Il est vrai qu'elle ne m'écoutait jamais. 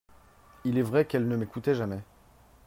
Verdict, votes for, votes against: accepted, 5, 0